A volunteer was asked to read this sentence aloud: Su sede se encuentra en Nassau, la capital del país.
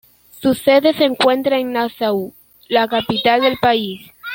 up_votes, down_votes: 2, 1